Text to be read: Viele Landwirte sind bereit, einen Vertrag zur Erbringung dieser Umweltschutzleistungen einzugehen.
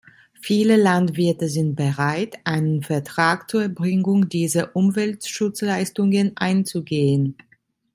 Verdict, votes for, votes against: accepted, 2, 0